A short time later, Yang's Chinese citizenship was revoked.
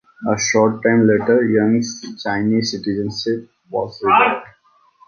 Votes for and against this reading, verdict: 2, 0, accepted